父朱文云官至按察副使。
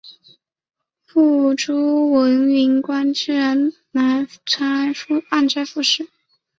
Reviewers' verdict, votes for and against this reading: accepted, 2, 1